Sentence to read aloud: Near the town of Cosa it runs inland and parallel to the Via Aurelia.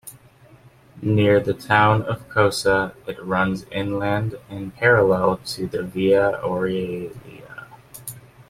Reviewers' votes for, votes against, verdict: 1, 2, rejected